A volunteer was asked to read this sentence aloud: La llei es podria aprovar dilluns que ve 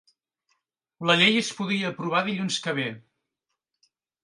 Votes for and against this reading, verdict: 0, 2, rejected